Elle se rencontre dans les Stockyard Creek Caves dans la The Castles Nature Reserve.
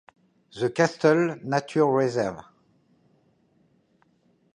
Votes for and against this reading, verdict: 0, 2, rejected